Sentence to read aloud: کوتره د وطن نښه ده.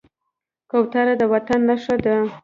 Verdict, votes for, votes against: accepted, 2, 1